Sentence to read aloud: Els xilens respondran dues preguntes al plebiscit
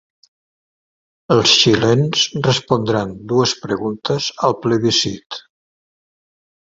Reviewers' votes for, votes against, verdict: 2, 0, accepted